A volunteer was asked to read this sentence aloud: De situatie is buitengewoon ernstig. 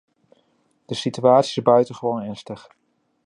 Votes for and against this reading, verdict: 1, 2, rejected